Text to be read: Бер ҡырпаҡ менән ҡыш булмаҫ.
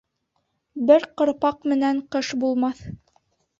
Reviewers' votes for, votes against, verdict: 2, 0, accepted